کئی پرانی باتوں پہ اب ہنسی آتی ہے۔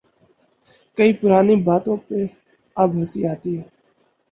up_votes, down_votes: 6, 0